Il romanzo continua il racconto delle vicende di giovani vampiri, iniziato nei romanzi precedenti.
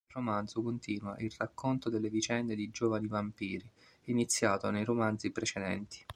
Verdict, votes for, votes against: rejected, 0, 2